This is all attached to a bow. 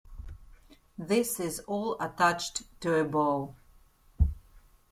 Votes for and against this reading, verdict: 1, 2, rejected